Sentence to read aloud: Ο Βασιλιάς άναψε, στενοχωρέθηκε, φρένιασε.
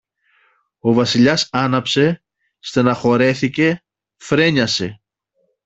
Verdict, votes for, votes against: rejected, 1, 2